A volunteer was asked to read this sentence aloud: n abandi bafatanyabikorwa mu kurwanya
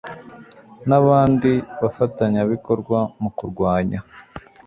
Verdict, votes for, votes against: accepted, 2, 0